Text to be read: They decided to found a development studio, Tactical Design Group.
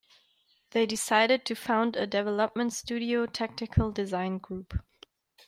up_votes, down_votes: 1, 2